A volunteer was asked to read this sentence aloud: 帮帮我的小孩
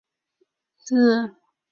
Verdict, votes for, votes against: rejected, 0, 4